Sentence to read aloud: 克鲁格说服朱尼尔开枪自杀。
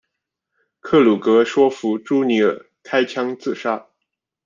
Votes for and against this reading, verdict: 2, 0, accepted